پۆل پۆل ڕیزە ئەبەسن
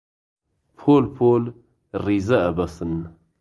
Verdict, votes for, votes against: accepted, 2, 0